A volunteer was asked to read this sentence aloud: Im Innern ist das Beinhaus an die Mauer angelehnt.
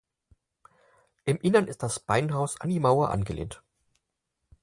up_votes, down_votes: 4, 0